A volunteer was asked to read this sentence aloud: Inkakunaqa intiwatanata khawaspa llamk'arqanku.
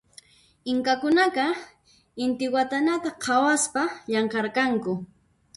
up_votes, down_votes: 0, 2